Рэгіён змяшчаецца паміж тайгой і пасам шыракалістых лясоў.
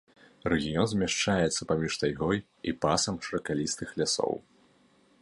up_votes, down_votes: 2, 0